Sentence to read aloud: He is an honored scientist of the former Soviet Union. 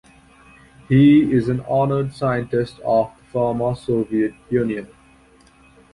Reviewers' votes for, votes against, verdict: 0, 2, rejected